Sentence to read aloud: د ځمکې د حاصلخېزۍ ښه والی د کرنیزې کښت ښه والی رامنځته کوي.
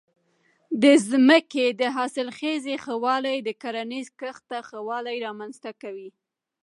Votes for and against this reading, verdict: 2, 0, accepted